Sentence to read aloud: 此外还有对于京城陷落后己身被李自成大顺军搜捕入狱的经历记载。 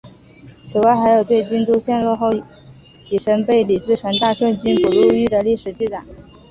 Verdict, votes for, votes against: rejected, 0, 2